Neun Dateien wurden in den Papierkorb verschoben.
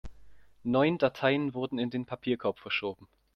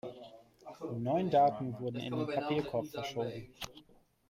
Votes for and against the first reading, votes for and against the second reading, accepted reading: 2, 0, 0, 2, first